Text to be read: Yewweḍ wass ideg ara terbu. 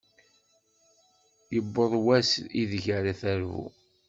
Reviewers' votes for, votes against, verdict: 2, 1, accepted